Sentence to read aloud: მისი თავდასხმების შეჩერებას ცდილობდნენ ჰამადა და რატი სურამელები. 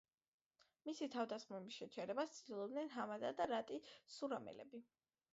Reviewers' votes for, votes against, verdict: 3, 0, accepted